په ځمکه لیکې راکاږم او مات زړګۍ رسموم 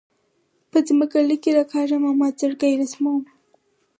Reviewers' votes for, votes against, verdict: 4, 2, accepted